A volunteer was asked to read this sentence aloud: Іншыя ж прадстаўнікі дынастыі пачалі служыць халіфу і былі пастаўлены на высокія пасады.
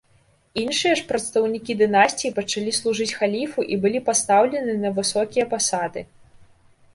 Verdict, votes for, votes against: rejected, 0, 2